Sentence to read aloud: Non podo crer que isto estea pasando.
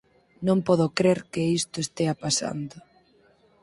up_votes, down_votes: 4, 0